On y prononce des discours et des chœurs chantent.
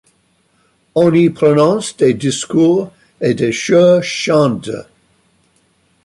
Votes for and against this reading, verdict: 0, 2, rejected